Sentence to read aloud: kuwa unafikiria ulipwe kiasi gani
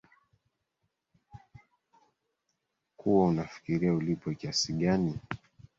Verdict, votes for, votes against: rejected, 0, 2